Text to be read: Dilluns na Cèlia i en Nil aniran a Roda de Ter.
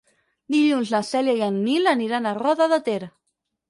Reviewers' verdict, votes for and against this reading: rejected, 2, 4